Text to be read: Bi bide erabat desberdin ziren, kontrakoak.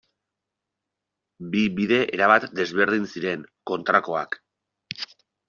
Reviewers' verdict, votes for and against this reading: accepted, 2, 0